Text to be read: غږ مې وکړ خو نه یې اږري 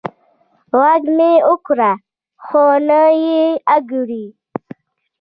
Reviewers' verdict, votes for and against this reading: rejected, 0, 2